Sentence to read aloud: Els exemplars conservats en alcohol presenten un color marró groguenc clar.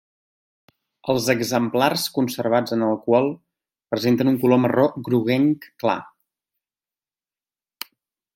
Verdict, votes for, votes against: accepted, 2, 0